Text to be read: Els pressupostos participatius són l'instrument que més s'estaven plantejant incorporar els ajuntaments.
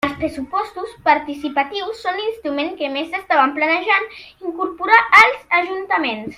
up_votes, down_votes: 0, 2